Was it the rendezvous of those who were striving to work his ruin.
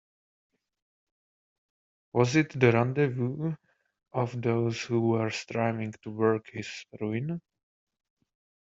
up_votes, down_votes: 2, 0